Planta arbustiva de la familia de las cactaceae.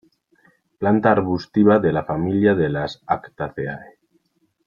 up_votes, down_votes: 0, 2